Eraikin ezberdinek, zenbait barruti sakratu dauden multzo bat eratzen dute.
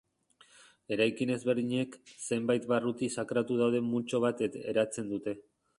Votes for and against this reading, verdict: 0, 2, rejected